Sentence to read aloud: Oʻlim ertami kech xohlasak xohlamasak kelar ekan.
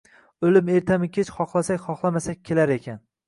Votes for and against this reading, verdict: 2, 0, accepted